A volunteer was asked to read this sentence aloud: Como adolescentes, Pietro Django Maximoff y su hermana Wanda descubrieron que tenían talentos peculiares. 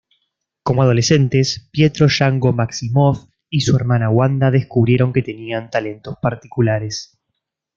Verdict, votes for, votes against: rejected, 1, 2